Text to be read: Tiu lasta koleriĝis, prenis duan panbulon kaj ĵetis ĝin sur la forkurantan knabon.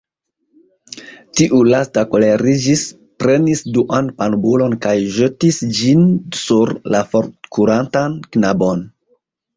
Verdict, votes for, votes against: accepted, 2, 1